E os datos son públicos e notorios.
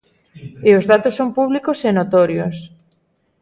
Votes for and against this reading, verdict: 0, 2, rejected